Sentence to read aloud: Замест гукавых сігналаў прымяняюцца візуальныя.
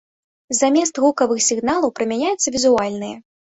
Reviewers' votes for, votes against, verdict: 1, 2, rejected